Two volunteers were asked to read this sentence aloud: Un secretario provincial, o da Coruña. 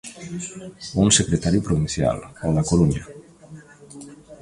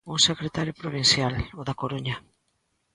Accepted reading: second